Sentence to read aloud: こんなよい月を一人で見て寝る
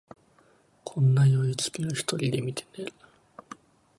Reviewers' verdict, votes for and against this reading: rejected, 1, 2